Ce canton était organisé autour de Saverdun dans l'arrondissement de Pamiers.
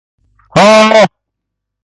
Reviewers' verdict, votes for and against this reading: rejected, 0, 2